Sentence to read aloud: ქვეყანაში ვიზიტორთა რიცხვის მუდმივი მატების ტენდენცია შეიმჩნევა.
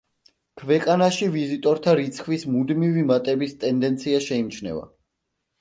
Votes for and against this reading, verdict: 2, 0, accepted